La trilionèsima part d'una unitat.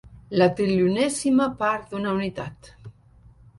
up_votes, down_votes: 0, 2